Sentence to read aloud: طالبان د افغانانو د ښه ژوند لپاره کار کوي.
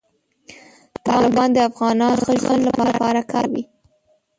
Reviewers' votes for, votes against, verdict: 1, 2, rejected